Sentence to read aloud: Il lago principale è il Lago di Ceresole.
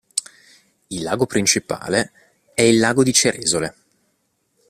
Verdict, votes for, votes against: accepted, 2, 0